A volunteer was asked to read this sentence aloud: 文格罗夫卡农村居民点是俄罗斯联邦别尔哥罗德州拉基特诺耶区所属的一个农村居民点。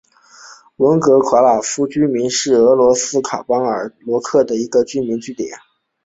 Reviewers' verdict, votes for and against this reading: rejected, 0, 2